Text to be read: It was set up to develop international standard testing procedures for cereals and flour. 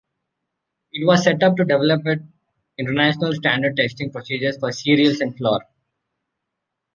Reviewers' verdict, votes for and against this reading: rejected, 0, 2